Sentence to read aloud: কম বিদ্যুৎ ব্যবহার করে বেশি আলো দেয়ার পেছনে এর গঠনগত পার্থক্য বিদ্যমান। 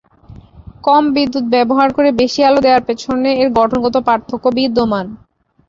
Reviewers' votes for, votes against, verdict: 5, 0, accepted